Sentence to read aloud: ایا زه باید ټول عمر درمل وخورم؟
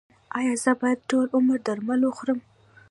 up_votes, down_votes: 2, 0